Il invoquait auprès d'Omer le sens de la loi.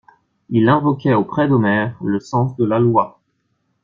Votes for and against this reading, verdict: 2, 0, accepted